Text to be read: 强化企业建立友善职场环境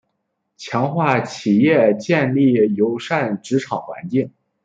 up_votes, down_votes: 2, 1